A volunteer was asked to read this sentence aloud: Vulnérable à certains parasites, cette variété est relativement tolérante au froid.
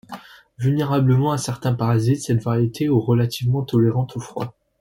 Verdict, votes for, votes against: rejected, 0, 2